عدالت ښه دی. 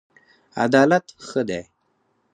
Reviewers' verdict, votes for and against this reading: accepted, 4, 0